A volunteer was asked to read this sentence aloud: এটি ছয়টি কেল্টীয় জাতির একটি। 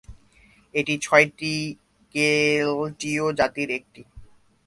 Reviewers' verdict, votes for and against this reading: rejected, 2, 3